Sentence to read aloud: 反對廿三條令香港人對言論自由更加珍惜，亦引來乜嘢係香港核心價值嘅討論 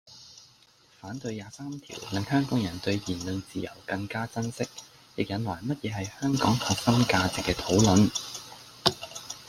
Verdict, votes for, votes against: rejected, 0, 2